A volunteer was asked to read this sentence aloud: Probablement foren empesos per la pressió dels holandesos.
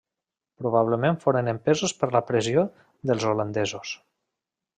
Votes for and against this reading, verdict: 3, 1, accepted